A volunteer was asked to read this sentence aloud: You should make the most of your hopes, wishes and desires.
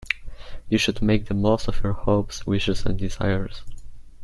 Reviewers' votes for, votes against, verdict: 2, 0, accepted